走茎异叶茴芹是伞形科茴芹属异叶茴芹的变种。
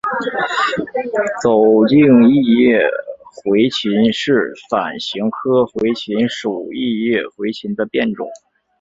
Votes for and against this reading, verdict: 5, 0, accepted